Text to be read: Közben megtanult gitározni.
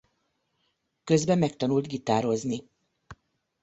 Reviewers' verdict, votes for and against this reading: accepted, 2, 0